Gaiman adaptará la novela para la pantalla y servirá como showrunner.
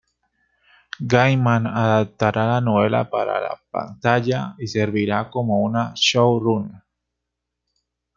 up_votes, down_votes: 2, 1